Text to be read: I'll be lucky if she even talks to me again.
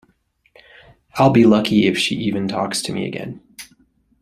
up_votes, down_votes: 2, 0